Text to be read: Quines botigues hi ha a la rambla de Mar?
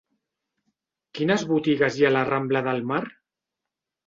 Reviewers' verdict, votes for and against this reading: rejected, 0, 2